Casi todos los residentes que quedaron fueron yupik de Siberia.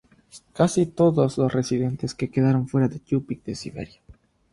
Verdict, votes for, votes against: accepted, 3, 0